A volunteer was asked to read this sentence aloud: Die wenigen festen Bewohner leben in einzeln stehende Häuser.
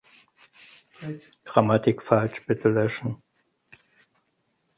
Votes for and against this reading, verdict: 0, 4, rejected